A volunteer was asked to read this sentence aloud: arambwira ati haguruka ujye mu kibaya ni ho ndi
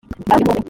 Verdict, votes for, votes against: rejected, 0, 2